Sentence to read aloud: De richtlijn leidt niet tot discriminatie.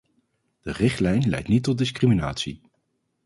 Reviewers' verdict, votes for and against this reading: accepted, 2, 0